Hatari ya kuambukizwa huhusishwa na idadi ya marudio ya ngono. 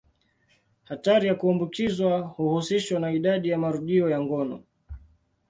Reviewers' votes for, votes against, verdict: 2, 0, accepted